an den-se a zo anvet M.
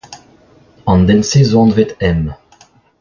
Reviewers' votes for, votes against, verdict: 0, 3, rejected